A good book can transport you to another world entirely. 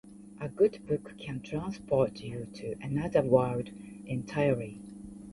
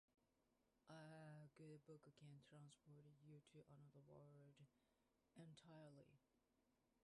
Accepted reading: first